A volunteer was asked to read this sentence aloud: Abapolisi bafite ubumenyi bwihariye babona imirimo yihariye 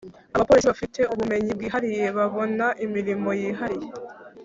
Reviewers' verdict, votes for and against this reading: rejected, 1, 2